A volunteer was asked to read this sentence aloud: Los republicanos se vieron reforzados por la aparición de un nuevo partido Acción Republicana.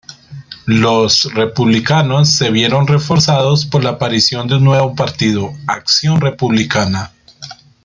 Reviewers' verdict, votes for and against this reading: rejected, 1, 2